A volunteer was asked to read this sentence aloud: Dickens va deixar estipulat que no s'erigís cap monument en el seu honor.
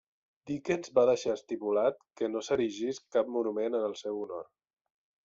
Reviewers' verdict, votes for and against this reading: accepted, 2, 0